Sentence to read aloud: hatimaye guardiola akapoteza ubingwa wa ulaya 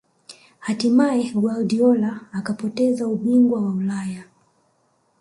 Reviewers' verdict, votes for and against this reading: rejected, 1, 2